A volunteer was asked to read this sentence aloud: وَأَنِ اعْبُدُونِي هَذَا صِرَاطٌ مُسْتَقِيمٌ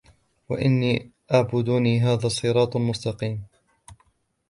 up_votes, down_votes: 1, 2